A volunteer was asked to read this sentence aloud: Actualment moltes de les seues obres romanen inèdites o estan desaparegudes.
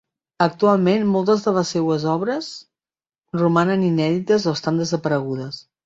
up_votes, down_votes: 3, 0